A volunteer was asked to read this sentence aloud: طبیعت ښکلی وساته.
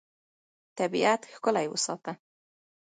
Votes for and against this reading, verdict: 1, 2, rejected